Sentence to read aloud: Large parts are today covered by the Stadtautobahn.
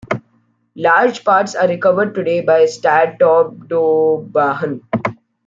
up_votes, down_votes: 0, 2